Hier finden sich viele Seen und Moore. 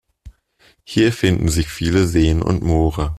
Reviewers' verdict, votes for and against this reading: accepted, 2, 0